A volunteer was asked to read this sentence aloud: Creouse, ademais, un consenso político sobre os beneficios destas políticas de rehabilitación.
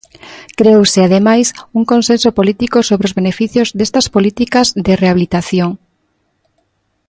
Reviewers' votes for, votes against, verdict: 2, 0, accepted